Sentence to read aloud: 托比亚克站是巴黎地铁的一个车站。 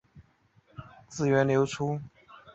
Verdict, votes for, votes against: rejected, 0, 2